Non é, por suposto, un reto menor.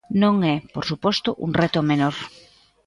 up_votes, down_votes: 2, 0